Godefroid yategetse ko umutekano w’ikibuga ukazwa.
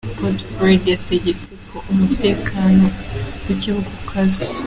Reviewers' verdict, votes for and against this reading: accepted, 2, 0